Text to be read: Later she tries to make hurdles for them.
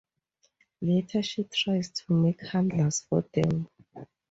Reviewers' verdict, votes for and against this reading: rejected, 0, 2